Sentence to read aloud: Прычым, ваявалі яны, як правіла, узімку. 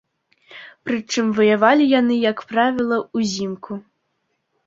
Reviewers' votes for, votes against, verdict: 2, 0, accepted